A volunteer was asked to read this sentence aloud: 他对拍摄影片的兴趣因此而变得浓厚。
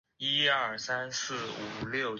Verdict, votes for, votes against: rejected, 0, 2